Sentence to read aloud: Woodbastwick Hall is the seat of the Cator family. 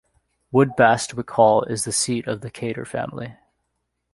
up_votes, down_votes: 2, 0